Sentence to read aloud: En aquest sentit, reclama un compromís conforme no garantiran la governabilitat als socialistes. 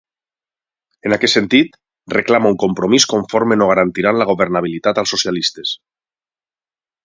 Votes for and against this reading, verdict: 6, 0, accepted